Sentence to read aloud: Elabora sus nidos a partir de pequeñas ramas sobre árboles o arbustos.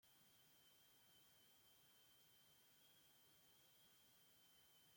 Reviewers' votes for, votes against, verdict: 0, 2, rejected